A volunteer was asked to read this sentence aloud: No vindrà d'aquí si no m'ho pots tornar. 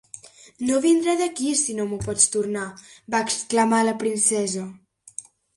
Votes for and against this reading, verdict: 0, 2, rejected